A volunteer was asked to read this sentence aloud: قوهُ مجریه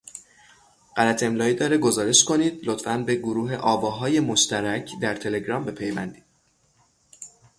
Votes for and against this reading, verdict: 0, 6, rejected